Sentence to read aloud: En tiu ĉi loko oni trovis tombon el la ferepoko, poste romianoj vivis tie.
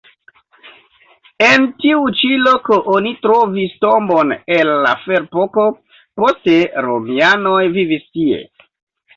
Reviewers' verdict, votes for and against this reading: accepted, 2, 0